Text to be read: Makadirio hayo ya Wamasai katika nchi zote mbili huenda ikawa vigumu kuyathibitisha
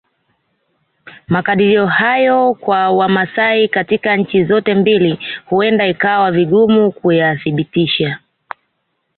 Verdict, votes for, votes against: accepted, 2, 1